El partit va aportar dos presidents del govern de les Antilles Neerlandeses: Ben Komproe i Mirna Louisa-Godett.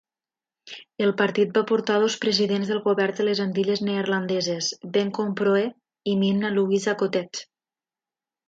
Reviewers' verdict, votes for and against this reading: rejected, 0, 2